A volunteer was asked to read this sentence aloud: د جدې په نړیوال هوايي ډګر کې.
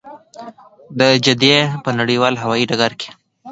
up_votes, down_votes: 2, 0